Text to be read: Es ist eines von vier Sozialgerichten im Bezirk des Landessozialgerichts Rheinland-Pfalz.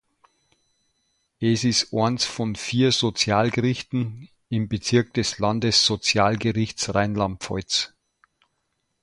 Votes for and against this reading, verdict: 0, 2, rejected